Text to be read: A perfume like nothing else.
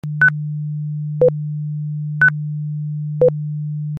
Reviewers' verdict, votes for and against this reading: rejected, 0, 2